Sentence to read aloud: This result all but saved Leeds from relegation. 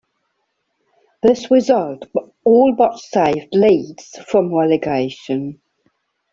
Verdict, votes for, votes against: rejected, 1, 2